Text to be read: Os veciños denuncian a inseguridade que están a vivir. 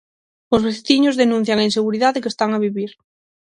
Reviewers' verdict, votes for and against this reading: accepted, 6, 0